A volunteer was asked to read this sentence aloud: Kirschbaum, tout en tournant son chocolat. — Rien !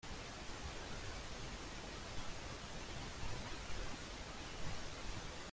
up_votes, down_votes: 0, 2